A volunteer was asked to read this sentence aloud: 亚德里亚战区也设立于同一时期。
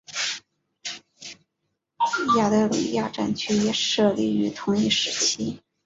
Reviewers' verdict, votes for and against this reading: rejected, 1, 2